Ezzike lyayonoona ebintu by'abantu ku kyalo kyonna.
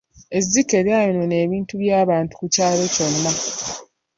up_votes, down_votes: 2, 0